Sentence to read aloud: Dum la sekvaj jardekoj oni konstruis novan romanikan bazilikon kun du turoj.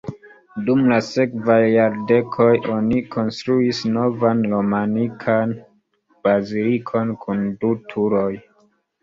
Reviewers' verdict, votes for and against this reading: accepted, 2, 0